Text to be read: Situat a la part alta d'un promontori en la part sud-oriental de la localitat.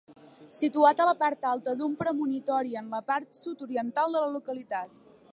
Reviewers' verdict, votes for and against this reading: rejected, 0, 2